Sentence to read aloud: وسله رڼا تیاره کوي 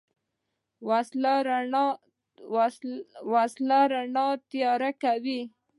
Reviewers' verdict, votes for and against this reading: rejected, 0, 2